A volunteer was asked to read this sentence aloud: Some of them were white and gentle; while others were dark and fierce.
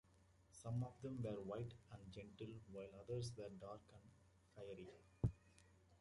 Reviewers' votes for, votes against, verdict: 0, 2, rejected